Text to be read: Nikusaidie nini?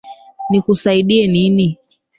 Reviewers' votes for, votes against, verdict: 3, 2, accepted